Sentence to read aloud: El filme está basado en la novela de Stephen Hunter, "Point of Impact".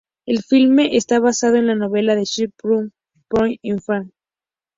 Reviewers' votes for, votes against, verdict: 0, 2, rejected